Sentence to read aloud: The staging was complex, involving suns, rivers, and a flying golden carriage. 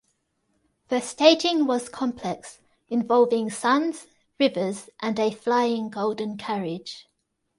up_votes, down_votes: 2, 0